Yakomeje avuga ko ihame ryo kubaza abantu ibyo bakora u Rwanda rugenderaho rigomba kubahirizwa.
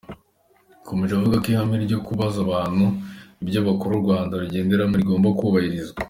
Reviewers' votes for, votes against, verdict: 2, 0, accepted